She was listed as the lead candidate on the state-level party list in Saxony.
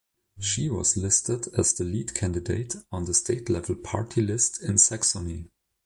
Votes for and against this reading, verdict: 2, 0, accepted